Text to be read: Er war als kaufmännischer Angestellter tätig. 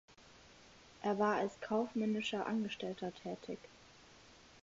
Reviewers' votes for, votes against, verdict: 4, 0, accepted